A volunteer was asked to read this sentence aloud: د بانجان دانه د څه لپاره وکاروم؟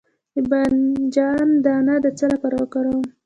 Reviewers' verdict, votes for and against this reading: accepted, 2, 0